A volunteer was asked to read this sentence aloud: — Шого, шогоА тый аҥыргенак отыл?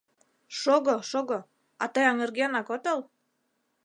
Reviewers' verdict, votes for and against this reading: rejected, 1, 2